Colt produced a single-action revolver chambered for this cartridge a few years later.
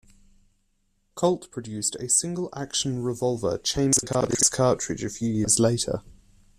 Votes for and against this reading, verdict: 0, 2, rejected